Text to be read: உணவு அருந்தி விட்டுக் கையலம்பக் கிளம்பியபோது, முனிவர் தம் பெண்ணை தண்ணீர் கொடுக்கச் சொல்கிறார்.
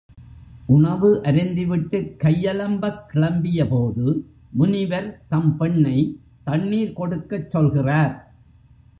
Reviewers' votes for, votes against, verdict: 0, 2, rejected